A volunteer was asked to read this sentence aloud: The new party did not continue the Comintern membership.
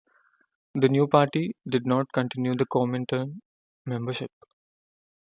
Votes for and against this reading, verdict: 2, 0, accepted